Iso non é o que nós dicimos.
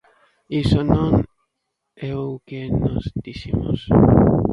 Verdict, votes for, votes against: rejected, 0, 2